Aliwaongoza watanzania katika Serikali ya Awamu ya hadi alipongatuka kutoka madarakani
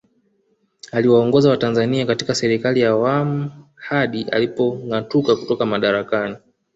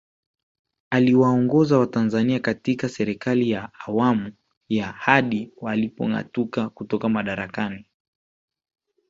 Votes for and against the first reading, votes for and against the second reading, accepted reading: 2, 1, 1, 2, first